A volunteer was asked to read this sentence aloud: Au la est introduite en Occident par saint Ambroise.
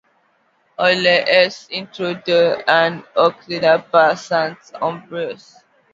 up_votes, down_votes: 0, 2